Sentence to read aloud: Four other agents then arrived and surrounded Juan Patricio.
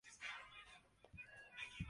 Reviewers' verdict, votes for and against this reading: rejected, 1, 2